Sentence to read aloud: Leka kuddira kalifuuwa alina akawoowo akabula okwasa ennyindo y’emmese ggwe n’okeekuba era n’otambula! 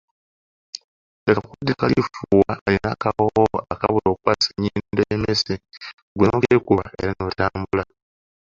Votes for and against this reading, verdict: 0, 2, rejected